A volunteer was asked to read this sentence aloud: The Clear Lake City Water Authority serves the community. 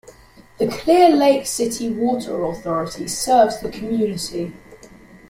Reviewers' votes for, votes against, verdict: 2, 0, accepted